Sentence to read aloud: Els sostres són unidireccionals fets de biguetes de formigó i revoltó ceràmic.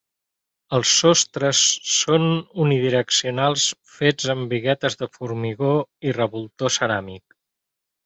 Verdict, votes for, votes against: rejected, 1, 2